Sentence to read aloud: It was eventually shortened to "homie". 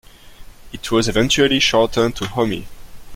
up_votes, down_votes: 2, 0